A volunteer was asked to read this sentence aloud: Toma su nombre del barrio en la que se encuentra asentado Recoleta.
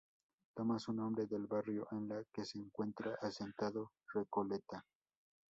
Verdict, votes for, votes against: accepted, 2, 0